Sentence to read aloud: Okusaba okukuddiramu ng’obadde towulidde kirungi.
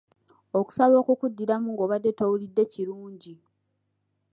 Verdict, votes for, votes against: accepted, 4, 1